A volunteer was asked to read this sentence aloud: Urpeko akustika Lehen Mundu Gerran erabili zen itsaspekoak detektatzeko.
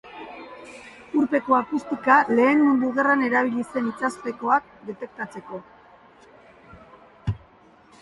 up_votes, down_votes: 5, 0